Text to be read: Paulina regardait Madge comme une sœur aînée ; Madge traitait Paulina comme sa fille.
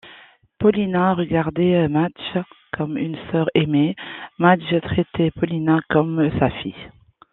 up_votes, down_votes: 2, 1